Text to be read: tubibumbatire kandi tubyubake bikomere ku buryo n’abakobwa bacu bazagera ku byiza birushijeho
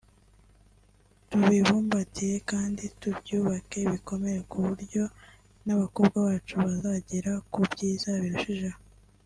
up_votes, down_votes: 2, 0